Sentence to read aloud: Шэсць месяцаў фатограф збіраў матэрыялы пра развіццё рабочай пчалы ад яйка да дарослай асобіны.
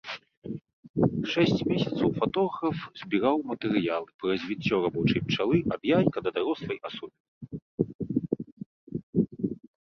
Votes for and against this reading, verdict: 1, 2, rejected